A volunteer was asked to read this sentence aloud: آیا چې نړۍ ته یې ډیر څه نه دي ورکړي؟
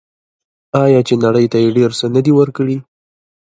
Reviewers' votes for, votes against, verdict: 2, 0, accepted